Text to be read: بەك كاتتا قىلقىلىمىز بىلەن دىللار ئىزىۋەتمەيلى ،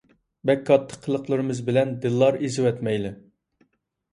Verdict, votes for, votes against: accepted, 2, 0